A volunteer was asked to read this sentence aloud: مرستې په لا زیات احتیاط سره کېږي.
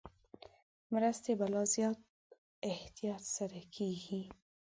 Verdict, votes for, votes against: accepted, 2, 0